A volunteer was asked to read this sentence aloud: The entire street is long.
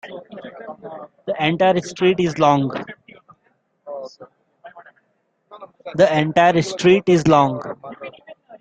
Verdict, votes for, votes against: rejected, 1, 2